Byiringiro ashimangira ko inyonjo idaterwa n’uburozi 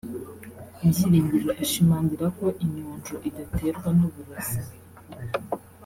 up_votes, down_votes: 2, 0